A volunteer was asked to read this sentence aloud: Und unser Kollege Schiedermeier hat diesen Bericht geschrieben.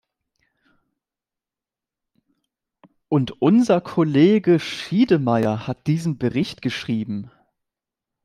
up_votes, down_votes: 1, 2